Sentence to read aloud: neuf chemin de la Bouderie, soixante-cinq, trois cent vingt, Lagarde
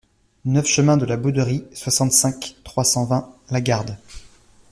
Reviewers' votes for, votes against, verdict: 2, 0, accepted